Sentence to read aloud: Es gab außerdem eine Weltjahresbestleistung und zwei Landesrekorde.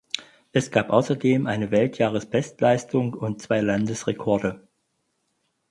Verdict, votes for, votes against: accepted, 4, 0